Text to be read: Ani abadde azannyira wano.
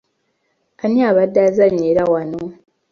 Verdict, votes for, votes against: accepted, 2, 0